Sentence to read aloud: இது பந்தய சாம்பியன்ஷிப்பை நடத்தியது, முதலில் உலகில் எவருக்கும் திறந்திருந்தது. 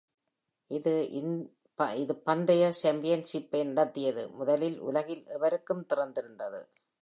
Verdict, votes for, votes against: rejected, 0, 2